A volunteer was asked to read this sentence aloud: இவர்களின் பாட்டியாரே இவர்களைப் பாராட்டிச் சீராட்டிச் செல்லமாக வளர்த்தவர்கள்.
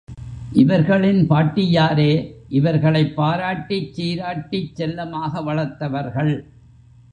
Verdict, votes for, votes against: accepted, 2, 0